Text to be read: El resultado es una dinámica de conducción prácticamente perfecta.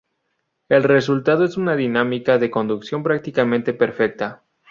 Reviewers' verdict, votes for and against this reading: accepted, 2, 0